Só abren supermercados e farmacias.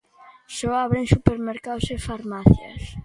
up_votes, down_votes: 2, 0